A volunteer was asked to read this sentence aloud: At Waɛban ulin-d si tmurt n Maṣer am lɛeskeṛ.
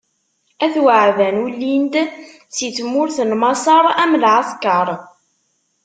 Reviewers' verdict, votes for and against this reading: accepted, 2, 0